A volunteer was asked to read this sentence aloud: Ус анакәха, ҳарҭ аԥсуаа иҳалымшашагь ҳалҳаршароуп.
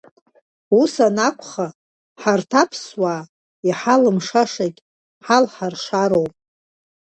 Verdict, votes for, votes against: accepted, 2, 0